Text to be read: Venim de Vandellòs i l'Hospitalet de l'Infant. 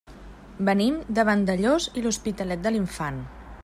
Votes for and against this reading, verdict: 3, 0, accepted